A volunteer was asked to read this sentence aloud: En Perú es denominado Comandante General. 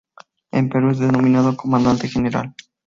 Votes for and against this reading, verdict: 2, 0, accepted